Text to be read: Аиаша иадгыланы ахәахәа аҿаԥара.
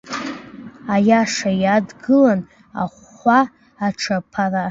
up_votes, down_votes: 0, 2